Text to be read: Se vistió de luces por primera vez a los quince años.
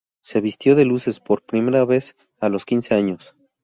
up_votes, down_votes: 0, 2